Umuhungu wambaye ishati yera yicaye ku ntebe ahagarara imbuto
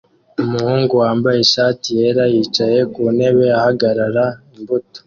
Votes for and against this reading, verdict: 2, 0, accepted